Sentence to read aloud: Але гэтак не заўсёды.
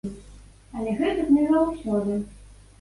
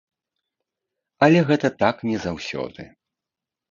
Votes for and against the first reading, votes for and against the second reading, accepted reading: 2, 0, 1, 2, first